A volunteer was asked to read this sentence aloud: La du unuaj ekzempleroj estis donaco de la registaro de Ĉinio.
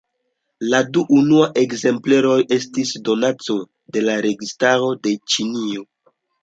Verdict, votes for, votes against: rejected, 0, 2